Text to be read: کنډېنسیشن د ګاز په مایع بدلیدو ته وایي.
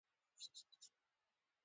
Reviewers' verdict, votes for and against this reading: rejected, 0, 2